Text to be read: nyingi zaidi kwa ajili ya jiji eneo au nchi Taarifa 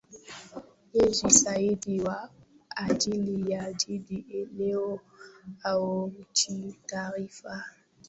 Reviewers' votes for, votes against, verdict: 0, 2, rejected